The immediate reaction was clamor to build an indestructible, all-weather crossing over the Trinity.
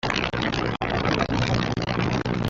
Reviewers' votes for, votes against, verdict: 0, 2, rejected